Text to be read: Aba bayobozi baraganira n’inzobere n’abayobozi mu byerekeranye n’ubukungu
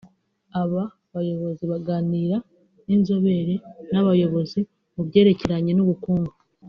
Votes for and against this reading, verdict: 3, 0, accepted